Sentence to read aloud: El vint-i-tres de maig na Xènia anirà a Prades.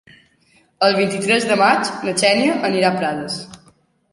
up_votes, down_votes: 3, 0